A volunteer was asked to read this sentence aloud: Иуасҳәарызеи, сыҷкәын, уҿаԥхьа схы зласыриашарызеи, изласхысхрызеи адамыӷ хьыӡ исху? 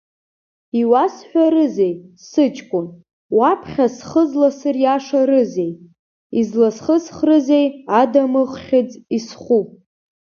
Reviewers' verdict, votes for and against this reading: rejected, 0, 2